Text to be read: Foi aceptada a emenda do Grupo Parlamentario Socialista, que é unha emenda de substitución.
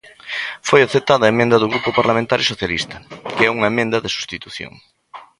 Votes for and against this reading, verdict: 1, 2, rejected